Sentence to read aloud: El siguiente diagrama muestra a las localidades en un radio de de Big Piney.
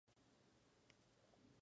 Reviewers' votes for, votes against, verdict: 0, 4, rejected